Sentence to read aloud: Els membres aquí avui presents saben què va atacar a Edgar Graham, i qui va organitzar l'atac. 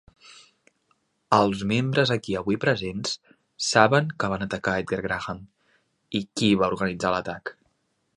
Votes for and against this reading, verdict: 2, 3, rejected